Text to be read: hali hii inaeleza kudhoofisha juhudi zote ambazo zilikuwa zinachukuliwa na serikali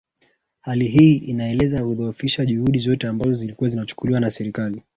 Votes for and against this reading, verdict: 0, 2, rejected